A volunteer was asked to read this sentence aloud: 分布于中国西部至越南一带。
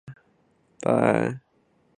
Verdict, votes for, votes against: rejected, 0, 4